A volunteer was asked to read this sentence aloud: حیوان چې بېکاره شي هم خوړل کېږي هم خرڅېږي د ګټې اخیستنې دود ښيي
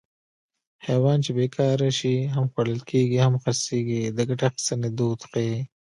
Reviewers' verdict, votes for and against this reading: rejected, 1, 2